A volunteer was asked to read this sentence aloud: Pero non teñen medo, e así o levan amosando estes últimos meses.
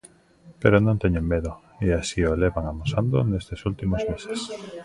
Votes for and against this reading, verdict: 0, 2, rejected